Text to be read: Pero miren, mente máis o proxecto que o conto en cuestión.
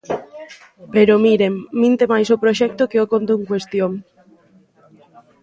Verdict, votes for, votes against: rejected, 0, 2